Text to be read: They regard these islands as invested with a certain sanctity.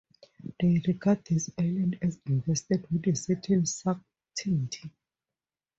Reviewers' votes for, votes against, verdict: 2, 0, accepted